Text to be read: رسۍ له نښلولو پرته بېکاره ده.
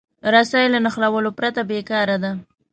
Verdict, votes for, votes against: accepted, 2, 0